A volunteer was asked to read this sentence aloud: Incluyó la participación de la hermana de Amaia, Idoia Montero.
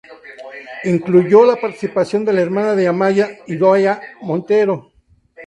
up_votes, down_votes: 2, 0